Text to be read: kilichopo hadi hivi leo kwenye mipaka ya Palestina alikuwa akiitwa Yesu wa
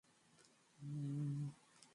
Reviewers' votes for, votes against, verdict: 0, 2, rejected